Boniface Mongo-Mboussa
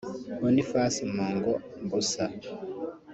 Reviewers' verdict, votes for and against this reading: rejected, 1, 2